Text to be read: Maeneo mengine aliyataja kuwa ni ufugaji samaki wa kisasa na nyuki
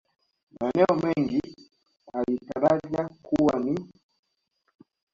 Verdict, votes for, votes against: accepted, 2, 1